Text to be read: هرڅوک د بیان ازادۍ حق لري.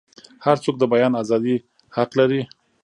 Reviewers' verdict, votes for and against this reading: accepted, 2, 0